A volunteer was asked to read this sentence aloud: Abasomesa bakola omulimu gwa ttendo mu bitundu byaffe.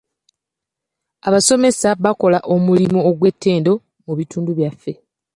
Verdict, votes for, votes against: rejected, 1, 2